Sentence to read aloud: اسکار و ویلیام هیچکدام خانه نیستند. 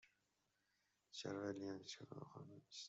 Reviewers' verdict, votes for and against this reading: rejected, 0, 2